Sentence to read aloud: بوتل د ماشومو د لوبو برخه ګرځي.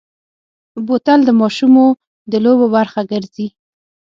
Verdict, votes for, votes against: accepted, 6, 0